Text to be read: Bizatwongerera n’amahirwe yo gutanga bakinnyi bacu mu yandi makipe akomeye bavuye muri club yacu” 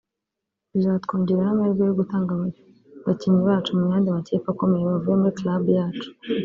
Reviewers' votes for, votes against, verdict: 1, 2, rejected